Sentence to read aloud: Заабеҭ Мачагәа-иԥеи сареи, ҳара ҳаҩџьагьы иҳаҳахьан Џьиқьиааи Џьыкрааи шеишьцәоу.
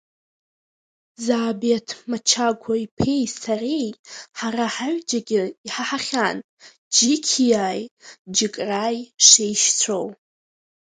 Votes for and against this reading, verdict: 1, 2, rejected